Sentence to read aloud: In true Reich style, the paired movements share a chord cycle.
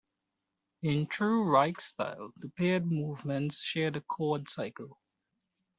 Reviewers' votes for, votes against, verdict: 2, 1, accepted